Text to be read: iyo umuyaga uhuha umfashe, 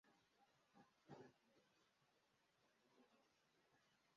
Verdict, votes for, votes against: rejected, 0, 2